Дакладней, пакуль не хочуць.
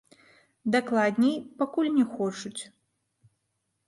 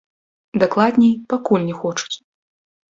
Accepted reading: first